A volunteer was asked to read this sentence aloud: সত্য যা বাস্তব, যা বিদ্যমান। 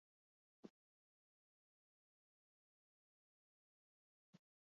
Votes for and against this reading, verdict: 0, 2, rejected